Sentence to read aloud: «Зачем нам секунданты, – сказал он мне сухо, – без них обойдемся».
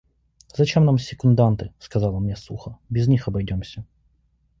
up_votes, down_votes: 2, 0